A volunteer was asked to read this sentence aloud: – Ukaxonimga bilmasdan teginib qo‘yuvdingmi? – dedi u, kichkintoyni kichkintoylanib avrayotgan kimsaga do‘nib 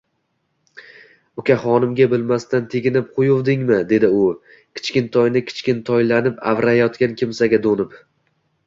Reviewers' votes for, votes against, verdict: 2, 1, accepted